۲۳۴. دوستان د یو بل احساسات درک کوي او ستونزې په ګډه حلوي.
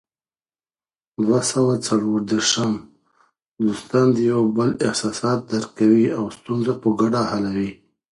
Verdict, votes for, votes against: rejected, 0, 2